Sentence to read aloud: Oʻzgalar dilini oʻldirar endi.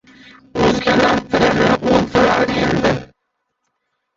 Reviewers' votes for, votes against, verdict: 0, 2, rejected